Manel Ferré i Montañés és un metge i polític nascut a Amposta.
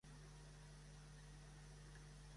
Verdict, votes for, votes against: rejected, 0, 2